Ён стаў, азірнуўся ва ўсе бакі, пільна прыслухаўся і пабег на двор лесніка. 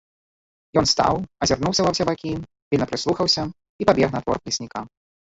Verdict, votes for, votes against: rejected, 0, 2